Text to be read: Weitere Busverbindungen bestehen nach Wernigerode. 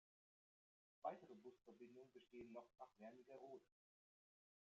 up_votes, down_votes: 0, 2